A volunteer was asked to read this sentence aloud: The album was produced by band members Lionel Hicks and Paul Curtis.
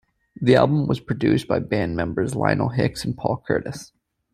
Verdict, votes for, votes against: accepted, 2, 0